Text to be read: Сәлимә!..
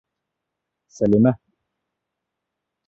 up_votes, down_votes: 2, 0